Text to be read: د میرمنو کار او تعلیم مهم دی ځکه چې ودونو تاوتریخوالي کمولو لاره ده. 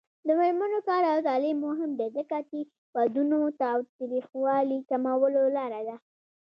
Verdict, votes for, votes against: rejected, 0, 2